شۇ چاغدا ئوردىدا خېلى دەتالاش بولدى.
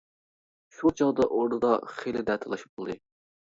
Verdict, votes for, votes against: rejected, 1, 2